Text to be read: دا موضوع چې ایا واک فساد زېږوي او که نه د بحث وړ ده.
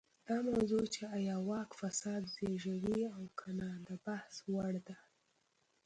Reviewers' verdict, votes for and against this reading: rejected, 1, 2